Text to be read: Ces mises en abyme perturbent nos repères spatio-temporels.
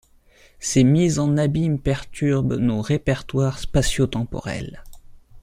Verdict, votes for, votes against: rejected, 1, 2